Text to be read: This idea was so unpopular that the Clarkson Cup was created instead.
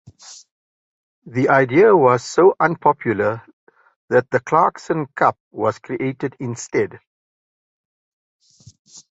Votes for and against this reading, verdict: 0, 2, rejected